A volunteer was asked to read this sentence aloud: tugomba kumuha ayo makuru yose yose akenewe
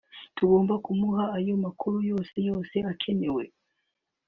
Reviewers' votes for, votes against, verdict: 3, 0, accepted